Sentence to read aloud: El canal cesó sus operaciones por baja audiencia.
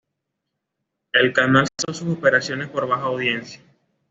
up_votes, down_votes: 1, 2